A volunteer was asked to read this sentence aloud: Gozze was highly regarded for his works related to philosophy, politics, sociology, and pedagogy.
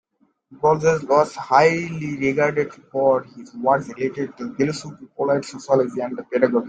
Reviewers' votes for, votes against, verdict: 1, 2, rejected